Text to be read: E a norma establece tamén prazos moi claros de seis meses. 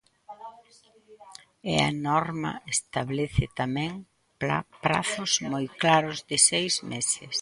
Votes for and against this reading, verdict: 0, 2, rejected